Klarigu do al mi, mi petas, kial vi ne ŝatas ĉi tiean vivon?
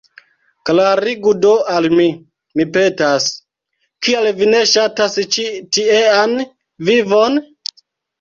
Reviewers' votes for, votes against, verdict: 2, 1, accepted